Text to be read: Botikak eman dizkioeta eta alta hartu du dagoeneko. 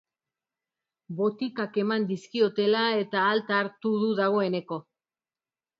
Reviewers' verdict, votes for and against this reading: rejected, 0, 2